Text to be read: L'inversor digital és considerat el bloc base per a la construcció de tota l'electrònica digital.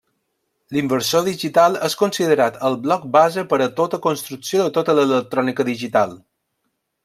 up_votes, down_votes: 0, 2